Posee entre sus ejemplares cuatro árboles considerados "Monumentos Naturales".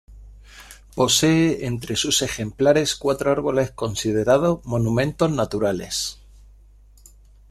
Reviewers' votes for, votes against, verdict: 1, 2, rejected